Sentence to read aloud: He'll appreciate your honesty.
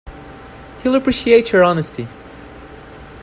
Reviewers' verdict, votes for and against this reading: accepted, 2, 0